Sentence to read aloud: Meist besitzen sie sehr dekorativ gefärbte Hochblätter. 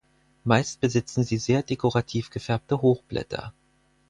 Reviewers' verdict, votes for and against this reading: accepted, 4, 0